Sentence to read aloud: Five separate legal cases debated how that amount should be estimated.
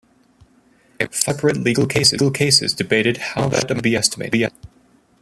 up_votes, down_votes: 0, 2